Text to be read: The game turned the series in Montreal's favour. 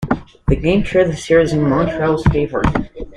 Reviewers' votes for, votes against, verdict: 2, 1, accepted